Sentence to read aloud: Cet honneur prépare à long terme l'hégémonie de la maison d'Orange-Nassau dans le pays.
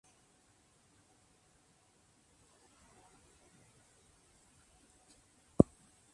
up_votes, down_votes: 0, 2